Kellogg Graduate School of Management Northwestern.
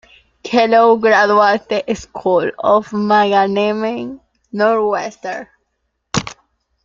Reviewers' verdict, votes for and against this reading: rejected, 0, 2